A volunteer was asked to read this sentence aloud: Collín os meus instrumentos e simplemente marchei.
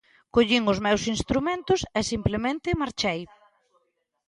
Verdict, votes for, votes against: accepted, 2, 0